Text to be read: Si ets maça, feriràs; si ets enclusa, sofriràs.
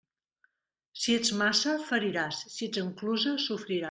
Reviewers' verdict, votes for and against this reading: rejected, 0, 2